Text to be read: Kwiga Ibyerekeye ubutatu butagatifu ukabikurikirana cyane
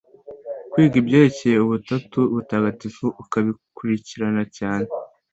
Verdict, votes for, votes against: accepted, 2, 0